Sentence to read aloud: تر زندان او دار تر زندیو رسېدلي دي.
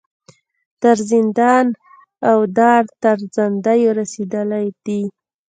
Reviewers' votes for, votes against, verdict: 2, 0, accepted